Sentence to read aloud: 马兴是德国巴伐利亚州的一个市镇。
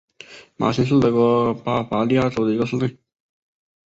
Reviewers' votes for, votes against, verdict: 1, 2, rejected